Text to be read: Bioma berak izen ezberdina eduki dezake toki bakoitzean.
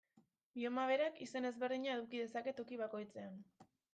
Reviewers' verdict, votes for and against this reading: rejected, 1, 2